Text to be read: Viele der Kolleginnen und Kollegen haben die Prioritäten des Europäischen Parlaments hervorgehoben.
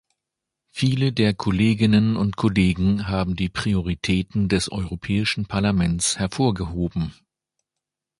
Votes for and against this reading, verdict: 2, 0, accepted